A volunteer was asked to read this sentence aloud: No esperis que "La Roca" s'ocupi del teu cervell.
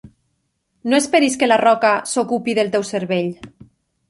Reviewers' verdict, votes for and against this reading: accepted, 3, 0